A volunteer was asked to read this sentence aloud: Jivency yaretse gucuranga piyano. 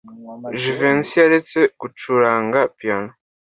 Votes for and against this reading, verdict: 2, 0, accepted